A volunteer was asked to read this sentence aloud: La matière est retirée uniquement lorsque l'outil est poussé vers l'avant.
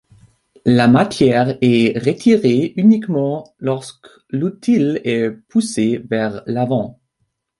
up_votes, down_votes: 0, 2